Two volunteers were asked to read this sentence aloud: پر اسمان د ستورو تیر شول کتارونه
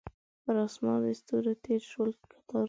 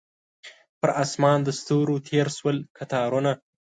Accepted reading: second